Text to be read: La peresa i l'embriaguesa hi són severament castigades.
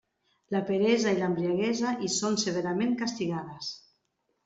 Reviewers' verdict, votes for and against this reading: accepted, 2, 0